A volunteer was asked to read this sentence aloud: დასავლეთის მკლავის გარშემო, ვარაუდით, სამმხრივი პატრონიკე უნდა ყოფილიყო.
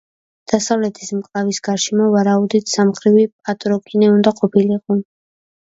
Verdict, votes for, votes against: rejected, 0, 2